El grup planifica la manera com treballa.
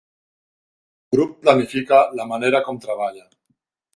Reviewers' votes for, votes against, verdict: 0, 2, rejected